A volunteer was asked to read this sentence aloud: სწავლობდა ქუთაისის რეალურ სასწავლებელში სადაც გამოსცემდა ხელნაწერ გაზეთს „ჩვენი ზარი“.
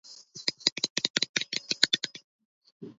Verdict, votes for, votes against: rejected, 0, 2